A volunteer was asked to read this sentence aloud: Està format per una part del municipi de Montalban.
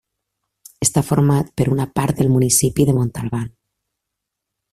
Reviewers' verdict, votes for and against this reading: accepted, 2, 0